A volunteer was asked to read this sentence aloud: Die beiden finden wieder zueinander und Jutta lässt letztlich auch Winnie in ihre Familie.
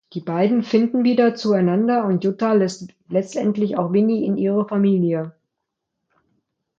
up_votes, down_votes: 0, 2